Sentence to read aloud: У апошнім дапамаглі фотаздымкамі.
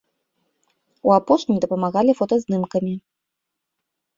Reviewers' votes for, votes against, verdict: 1, 2, rejected